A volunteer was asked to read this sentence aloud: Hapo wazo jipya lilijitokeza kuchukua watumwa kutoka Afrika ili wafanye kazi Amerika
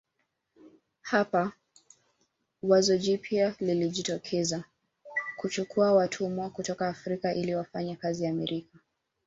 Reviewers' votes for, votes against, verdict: 1, 2, rejected